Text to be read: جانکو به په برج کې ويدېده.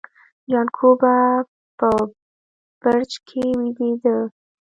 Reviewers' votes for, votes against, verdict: 0, 2, rejected